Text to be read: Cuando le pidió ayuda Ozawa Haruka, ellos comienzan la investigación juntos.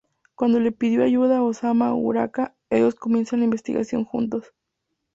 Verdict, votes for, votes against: rejected, 0, 2